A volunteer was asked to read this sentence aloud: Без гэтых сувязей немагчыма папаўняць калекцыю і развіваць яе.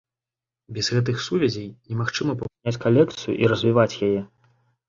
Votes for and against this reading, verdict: 0, 2, rejected